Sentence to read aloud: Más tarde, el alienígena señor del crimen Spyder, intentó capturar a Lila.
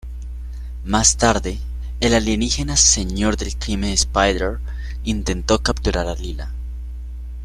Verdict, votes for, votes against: rejected, 1, 2